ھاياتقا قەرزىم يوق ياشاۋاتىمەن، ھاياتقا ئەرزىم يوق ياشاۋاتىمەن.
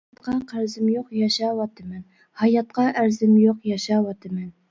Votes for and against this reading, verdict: 0, 2, rejected